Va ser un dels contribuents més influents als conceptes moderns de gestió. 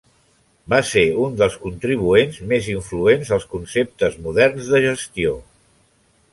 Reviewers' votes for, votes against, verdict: 3, 0, accepted